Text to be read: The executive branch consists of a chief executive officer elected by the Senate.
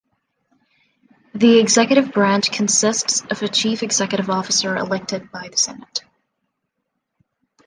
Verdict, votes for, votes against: accepted, 2, 0